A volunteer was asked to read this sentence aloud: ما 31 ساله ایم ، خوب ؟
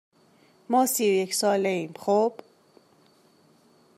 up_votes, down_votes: 0, 2